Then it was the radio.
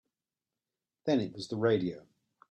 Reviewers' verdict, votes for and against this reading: accepted, 2, 0